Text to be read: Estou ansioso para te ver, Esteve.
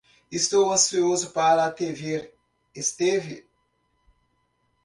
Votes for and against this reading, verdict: 0, 2, rejected